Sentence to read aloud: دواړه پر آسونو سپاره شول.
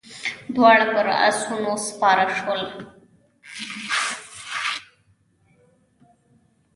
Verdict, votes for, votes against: rejected, 1, 2